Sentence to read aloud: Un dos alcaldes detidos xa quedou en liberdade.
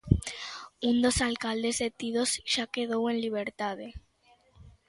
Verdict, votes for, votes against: rejected, 0, 2